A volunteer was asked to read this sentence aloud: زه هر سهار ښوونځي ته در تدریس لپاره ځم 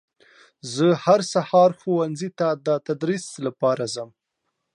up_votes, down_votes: 0, 2